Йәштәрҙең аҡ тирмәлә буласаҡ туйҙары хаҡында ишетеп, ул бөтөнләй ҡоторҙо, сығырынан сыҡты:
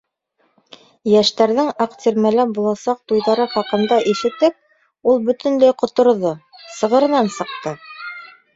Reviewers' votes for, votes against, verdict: 1, 2, rejected